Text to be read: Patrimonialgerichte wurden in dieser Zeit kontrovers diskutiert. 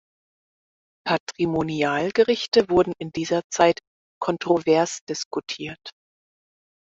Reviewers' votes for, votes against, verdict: 4, 2, accepted